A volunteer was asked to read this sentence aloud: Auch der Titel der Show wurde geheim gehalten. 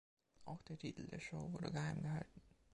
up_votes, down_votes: 1, 2